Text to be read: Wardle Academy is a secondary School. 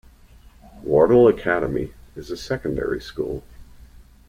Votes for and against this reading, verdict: 2, 0, accepted